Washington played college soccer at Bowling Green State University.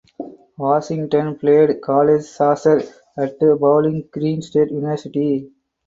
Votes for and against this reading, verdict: 4, 2, accepted